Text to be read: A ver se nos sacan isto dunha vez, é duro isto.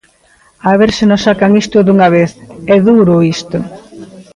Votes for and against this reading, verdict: 2, 0, accepted